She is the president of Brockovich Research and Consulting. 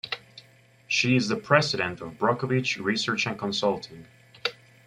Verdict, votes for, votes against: accepted, 2, 1